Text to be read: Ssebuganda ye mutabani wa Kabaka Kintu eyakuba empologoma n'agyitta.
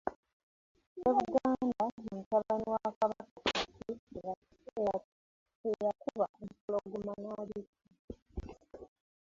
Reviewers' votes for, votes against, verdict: 0, 2, rejected